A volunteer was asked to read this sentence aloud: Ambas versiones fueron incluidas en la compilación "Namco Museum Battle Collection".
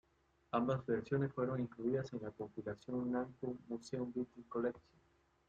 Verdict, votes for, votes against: accepted, 2, 0